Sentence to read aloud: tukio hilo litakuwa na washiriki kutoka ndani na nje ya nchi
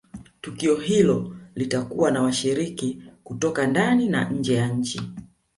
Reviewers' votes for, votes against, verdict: 3, 0, accepted